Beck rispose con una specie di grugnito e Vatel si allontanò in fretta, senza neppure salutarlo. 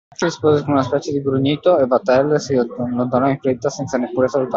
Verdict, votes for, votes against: rejected, 0, 2